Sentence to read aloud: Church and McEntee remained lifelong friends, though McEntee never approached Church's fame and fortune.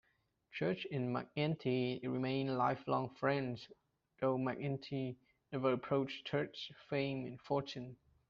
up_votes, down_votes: 2, 0